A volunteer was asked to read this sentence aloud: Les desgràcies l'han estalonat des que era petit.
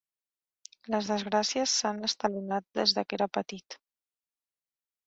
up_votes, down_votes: 0, 2